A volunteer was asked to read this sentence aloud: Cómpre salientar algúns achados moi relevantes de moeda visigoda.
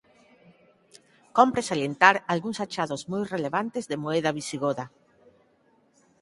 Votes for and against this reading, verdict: 2, 4, rejected